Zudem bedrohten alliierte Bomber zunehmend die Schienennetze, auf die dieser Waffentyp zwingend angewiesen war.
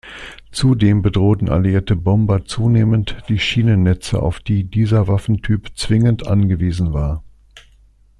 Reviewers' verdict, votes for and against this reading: accepted, 2, 0